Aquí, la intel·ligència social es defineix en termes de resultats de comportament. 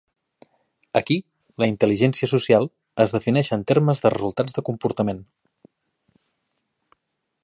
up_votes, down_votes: 2, 0